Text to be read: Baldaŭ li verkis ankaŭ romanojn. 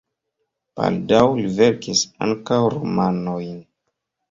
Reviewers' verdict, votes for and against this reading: rejected, 1, 2